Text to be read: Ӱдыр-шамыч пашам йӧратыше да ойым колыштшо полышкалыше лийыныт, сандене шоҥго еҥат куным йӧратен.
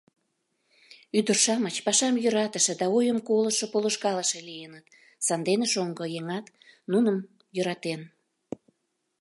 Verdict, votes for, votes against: rejected, 0, 3